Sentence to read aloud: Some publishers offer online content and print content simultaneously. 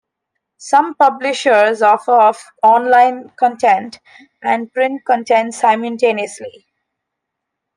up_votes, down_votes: 1, 2